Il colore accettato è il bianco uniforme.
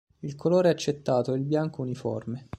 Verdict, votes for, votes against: accepted, 2, 0